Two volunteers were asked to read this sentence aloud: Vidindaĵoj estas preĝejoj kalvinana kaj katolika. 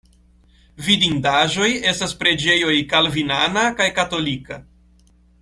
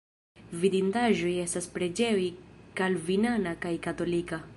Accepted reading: first